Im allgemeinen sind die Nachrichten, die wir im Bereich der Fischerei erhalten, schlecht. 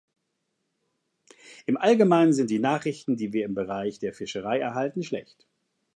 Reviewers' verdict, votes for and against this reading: accepted, 2, 0